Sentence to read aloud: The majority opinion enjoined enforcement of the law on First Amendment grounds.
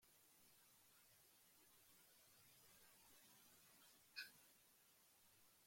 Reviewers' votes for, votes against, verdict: 0, 2, rejected